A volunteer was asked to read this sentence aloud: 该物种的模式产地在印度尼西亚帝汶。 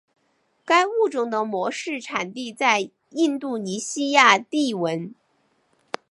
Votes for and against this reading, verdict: 1, 2, rejected